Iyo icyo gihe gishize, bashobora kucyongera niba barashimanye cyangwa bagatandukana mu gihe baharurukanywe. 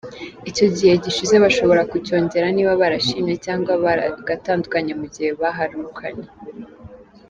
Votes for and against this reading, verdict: 3, 4, rejected